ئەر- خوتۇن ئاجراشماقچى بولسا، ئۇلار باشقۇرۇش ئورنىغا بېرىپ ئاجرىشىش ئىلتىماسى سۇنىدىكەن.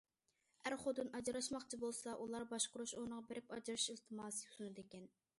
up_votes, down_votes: 1, 2